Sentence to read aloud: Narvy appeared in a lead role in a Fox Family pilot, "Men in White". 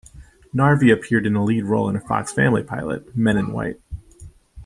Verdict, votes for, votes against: accepted, 2, 0